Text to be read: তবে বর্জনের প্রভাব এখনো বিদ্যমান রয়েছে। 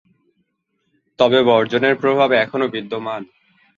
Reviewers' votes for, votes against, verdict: 0, 2, rejected